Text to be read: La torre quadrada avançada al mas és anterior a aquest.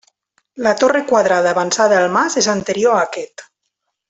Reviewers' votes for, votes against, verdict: 3, 0, accepted